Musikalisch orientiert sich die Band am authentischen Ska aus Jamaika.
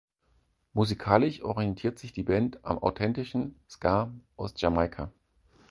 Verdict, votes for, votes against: accepted, 4, 0